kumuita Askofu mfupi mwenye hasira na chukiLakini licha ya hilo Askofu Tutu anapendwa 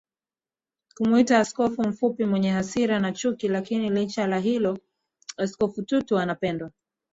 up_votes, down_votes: 3, 0